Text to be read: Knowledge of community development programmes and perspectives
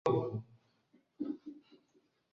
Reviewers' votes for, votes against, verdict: 0, 2, rejected